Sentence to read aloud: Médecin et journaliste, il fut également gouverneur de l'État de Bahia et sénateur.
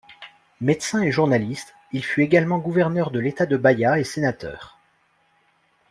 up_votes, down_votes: 2, 0